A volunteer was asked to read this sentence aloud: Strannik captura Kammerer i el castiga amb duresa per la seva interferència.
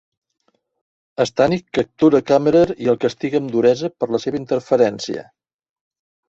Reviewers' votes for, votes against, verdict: 2, 0, accepted